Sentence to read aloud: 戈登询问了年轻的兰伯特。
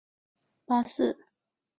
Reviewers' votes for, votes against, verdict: 0, 3, rejected